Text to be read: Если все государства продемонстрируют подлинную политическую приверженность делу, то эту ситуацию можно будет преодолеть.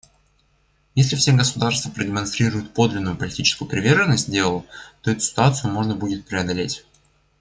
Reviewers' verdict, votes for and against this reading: accepted, 2, 1